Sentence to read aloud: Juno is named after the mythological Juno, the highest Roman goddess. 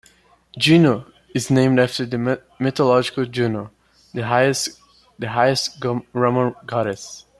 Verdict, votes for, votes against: rejected, 1, 2